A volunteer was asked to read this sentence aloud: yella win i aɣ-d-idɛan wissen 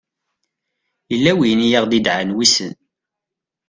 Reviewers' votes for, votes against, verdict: 2, 0, accepted